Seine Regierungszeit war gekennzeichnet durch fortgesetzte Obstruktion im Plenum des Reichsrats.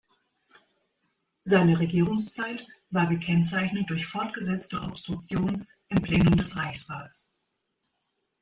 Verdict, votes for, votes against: rejected, 0, 2